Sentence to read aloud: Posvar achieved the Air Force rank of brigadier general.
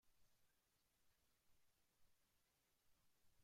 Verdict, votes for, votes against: rejected, 0, 2